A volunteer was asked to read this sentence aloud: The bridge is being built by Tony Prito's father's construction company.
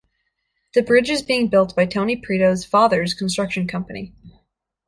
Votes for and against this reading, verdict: 2, 0, accepted